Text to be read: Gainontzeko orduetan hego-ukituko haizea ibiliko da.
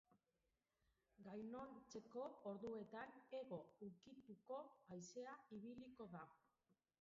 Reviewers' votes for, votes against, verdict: 1, 2, rejected